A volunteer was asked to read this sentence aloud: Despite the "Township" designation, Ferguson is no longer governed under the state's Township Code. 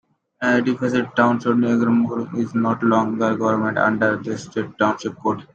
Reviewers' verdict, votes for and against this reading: rejected, 0, 2